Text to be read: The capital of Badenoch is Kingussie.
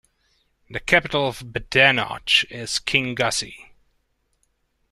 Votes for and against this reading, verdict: 2, 0, accepted